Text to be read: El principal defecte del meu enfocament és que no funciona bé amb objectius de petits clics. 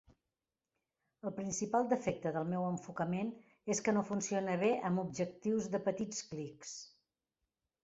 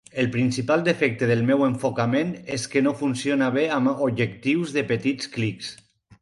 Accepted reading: first